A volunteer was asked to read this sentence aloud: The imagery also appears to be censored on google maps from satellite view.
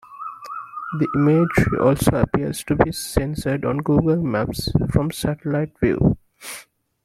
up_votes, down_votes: 2, 0